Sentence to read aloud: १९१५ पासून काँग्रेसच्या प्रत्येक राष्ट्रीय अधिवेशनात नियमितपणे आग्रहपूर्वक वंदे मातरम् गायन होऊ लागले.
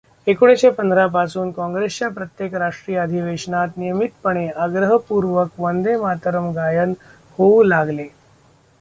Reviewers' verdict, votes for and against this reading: rejected, 0, 2